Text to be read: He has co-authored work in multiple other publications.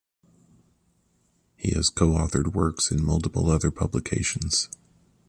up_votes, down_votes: 1, 2